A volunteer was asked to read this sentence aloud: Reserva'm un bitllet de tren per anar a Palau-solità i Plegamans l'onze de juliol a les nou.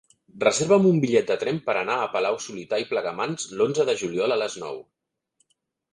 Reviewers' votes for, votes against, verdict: 3, 0, accepted